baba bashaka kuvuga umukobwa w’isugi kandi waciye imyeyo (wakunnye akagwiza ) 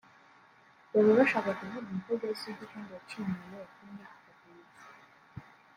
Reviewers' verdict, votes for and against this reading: rejected, 0, 2